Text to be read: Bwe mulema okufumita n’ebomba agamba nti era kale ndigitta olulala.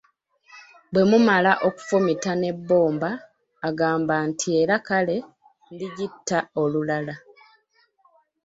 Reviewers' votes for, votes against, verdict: 0, 2, rejected